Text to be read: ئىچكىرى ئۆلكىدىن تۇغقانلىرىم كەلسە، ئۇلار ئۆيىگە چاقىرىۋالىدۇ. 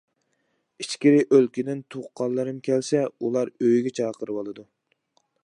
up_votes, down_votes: 2, 0